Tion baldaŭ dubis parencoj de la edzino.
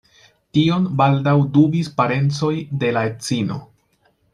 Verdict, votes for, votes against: accepted, 2, 0